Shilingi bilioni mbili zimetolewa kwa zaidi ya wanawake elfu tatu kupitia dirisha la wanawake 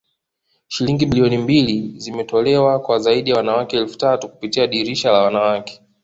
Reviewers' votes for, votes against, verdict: 2, 0, accepted